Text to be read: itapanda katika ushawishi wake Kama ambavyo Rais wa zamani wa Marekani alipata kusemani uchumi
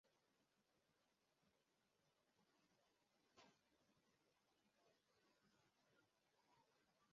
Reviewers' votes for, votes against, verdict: 0, 2, rejected